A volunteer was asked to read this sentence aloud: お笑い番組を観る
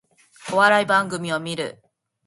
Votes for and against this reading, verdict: 2, 0, accepted